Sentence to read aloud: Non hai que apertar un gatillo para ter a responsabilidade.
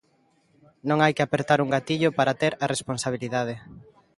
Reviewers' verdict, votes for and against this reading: accepted, 2, 0